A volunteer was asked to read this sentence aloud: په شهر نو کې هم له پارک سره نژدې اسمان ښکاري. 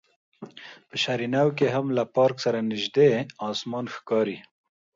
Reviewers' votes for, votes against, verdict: 2, 0, accepted